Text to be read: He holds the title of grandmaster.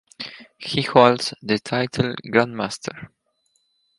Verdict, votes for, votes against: rejected, 0, 4